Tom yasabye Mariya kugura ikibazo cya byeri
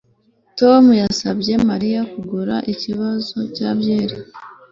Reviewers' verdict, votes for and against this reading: accepted, 2, 0